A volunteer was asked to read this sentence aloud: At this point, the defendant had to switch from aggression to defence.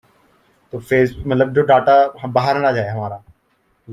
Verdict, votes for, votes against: rejected, 0, 2